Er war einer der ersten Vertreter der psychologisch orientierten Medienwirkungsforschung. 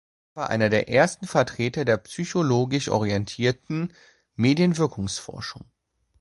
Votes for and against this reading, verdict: 0, 2, rejected